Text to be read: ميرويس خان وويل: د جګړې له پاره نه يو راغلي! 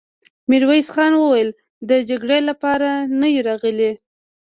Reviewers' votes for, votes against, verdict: 2, 0, accepted